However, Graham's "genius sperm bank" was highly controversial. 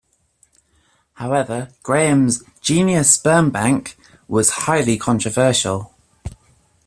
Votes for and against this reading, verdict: 2, 0, accepted